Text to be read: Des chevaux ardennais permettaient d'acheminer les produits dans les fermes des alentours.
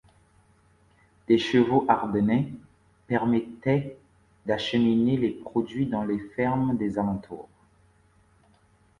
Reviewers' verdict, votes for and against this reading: accepted, 2, 0